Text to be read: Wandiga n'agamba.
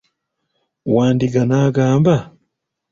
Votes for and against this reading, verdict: 2, 1, accepted